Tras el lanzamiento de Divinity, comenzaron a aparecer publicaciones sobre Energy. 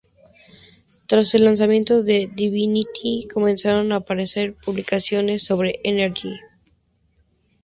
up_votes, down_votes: 2, 0